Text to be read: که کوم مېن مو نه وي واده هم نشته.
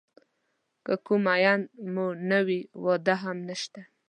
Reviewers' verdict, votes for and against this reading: accepted, 2, 1